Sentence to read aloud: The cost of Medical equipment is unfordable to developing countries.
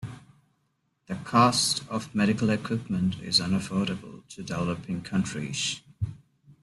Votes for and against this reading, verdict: 0, 2, rejected